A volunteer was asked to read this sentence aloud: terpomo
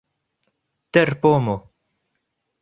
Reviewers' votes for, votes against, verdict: 2, 1, accepted